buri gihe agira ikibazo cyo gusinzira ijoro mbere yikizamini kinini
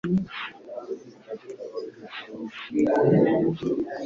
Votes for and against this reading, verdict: 1, 2, rejected